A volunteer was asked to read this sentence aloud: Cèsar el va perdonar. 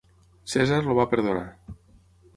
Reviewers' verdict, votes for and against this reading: rejected, 3, 6